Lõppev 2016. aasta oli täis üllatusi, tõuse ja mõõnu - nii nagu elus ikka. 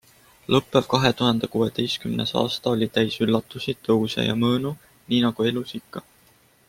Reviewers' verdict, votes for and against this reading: rejected, 0, 2